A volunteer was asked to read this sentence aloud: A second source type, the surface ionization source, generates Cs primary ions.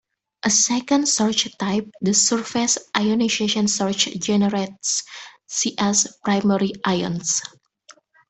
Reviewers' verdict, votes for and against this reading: rejected, 1, 2